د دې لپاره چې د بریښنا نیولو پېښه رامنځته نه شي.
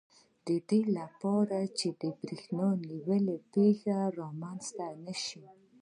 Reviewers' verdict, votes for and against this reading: rejected, 1, 2